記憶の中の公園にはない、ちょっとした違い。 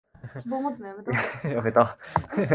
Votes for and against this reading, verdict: 1, 2, rejected